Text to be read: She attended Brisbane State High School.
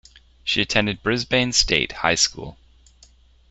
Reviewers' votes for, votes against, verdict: 2, 0, accepted